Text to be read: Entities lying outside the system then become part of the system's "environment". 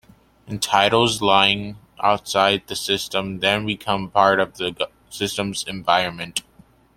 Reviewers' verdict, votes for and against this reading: rejected, 1, 2